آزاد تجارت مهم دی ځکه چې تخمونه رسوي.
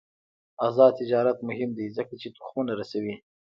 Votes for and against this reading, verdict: 1, 2, rejected